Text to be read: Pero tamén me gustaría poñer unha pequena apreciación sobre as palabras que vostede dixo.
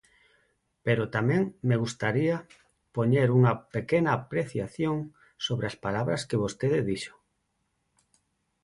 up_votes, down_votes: 4, 0